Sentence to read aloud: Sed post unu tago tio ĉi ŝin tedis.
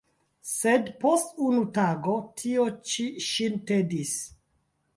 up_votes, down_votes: 0, 2